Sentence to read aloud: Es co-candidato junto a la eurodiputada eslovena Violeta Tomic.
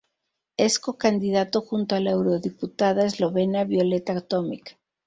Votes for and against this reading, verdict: 2, 0, accepted